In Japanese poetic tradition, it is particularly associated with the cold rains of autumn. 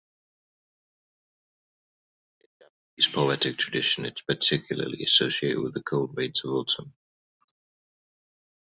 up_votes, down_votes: 0, 2